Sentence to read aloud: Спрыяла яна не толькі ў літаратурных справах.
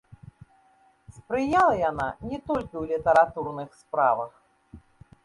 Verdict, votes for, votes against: accepted, 3, 2